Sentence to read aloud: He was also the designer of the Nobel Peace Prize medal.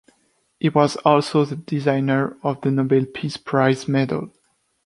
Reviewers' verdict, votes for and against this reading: accepted, 2, 0